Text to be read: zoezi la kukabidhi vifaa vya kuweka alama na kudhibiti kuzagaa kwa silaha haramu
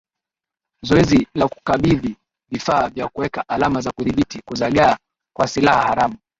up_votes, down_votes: 2, 1